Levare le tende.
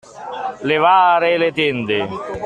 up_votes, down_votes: 2, 1